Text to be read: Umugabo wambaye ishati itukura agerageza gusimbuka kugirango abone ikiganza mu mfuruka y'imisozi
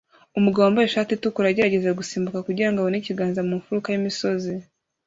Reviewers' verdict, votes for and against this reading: accepted, 2, 0